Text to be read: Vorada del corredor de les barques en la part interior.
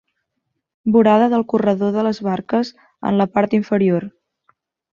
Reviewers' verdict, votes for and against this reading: rejected, 2, 3